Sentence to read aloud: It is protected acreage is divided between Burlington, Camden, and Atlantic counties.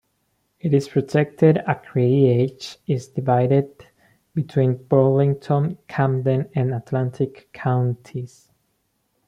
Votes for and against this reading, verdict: 1, 2, rejected